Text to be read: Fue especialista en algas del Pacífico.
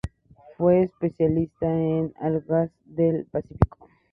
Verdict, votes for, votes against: accepted, 2, 0